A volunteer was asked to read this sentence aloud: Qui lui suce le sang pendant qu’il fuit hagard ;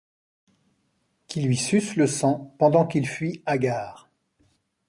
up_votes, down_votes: 0, 2